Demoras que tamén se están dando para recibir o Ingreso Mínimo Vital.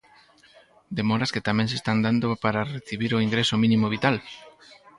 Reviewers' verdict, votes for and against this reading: rejected, 2, 4